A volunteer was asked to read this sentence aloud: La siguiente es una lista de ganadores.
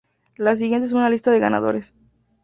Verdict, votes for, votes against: accepted, 2, 0